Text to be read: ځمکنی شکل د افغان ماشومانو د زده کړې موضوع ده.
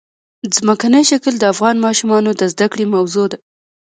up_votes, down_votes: 2, 1